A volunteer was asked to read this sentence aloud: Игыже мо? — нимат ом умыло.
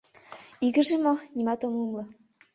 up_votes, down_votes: 3, 0